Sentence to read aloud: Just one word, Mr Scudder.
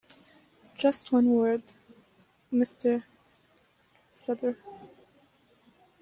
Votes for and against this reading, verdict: 1, 2, rejected